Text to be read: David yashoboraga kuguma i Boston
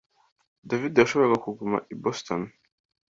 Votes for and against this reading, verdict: 2, 0, accepted